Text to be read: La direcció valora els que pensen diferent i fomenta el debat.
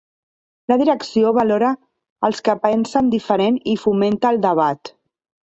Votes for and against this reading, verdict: 1, 2, rejected